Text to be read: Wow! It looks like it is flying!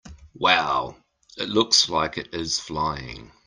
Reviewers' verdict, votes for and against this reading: accepted, 2, 0